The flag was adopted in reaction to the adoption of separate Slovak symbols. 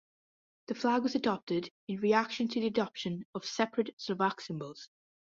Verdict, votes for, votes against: accepted, 2, 0